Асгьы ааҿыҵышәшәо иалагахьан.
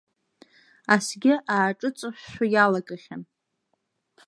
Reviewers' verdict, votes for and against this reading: rejected, 1, 2